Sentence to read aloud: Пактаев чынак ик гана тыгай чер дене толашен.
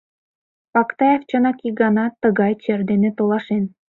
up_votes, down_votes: 2, 0